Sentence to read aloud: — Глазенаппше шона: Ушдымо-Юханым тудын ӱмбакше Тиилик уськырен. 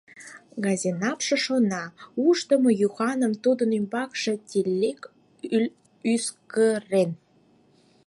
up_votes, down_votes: 0, 4